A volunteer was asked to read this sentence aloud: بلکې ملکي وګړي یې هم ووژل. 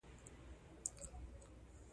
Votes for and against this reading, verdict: 0, 2, rejected